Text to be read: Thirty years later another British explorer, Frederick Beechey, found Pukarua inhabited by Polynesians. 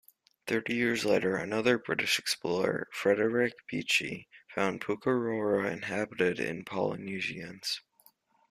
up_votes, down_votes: 0, 2